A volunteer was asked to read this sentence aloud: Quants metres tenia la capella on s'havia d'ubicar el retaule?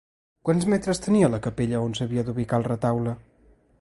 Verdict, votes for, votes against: accepted, 2, 0